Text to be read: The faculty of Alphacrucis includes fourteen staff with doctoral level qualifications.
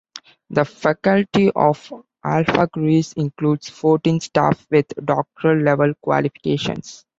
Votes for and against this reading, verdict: 1, 2, rejected